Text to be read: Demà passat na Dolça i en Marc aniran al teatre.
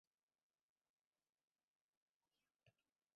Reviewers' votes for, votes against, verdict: 0, 2, rejected